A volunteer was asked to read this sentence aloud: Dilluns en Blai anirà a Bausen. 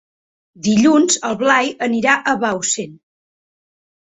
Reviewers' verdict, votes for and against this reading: rejected, 0, 6